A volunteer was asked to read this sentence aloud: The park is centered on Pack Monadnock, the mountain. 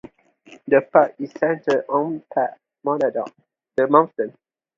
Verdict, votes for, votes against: accepted, 2, 0